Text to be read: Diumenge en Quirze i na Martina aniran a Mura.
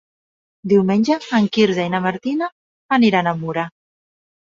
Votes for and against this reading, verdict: 3, 0, accepted